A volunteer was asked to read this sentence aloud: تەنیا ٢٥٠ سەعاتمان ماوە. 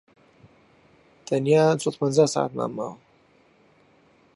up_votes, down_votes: 0, 2